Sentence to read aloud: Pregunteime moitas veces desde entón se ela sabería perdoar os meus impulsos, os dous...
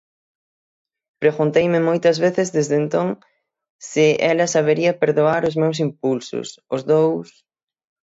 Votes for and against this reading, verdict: 6, 0, accepted